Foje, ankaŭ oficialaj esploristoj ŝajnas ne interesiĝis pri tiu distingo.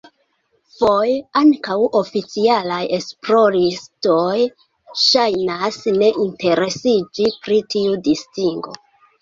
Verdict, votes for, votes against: rejected, 1, 2